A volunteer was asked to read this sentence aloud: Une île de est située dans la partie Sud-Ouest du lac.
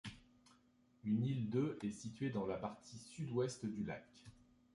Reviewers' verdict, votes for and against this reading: accepted, 2, 1